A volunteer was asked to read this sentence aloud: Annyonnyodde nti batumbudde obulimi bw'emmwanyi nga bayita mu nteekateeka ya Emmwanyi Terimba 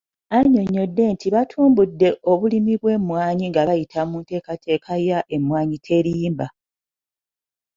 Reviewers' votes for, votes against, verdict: 2, 0, accepted